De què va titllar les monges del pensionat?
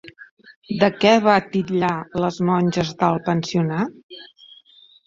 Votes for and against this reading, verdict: 0, 2, rejected